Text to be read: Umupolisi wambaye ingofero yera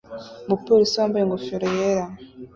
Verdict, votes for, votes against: accepted, 2, 0